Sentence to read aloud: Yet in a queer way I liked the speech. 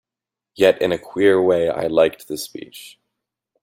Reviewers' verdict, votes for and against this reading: accepted, 2, 0